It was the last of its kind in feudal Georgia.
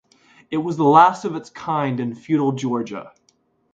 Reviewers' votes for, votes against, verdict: 2, 0, accepted